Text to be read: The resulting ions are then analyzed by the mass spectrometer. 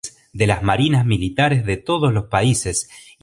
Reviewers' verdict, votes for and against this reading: rejected, 0, 2